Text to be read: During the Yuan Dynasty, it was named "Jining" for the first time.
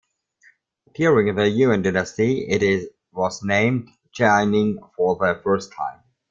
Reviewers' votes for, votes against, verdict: 0, 2, rejected